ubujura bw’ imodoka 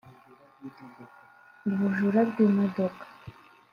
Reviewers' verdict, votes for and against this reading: accepted, 2, 1